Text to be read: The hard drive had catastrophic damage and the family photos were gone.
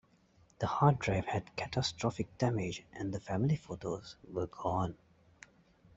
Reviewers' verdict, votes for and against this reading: accepted, 2, 0